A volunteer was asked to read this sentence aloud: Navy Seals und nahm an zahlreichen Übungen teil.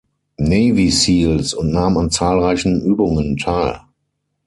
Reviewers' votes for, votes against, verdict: 3, 6, rejected